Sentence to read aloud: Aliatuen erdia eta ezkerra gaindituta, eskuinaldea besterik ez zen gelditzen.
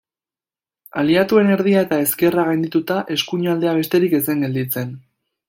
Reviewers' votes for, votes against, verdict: 2, 0, accepted